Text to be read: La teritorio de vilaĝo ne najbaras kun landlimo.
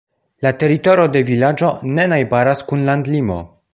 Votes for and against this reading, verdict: 1, 2, rejected